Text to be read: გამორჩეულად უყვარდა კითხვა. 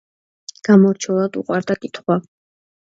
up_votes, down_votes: 3, 1